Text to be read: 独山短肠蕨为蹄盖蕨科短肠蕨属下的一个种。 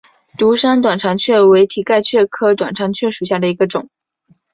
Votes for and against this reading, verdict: 2, 0, accepted